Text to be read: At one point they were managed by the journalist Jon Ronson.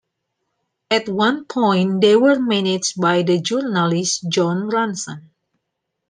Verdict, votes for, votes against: accepted, 2, 1